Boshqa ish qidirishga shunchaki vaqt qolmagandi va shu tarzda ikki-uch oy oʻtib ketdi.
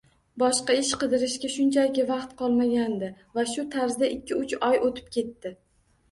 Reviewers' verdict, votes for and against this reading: accepted, 2, 0